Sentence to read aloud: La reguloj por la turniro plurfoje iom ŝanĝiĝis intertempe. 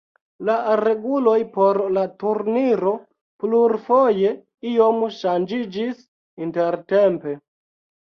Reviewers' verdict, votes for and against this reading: accepted, 2, 0